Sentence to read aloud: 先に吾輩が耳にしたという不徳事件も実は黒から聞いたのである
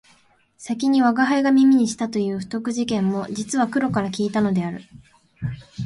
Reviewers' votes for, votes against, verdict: 4, 0, accepted